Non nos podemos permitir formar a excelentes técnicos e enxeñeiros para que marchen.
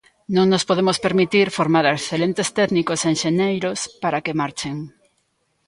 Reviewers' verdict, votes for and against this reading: rejected, 0, 2